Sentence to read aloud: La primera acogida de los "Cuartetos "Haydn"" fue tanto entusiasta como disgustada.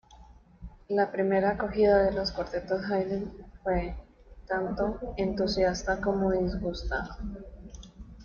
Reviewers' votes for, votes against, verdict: 1, 2, rejected